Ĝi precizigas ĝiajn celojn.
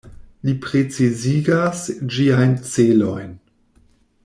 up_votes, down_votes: 1, 2